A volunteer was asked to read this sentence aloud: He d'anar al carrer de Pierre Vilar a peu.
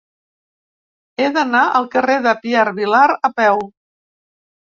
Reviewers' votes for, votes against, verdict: 3, 0, accepted